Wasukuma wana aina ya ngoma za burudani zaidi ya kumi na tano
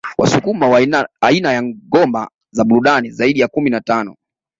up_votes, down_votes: 2, 0